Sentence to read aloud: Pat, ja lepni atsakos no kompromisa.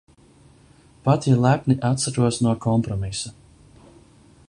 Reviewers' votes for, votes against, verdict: 0, 2, rejected